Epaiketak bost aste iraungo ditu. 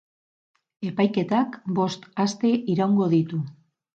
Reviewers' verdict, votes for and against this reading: accepted, 6, 0